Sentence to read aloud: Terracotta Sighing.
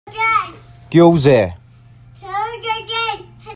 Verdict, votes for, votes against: rejected, 0, 2